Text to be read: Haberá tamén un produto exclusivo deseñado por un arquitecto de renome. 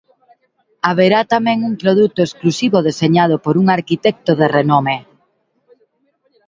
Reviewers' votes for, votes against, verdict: 2, 0, accepted